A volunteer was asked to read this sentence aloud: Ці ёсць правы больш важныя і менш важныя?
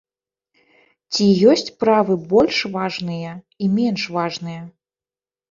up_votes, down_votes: 0, 2